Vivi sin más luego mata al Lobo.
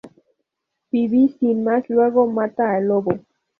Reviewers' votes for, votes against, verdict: 2, 2, rejected